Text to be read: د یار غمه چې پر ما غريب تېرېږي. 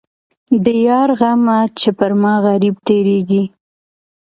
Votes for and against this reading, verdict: 2, 0, accepted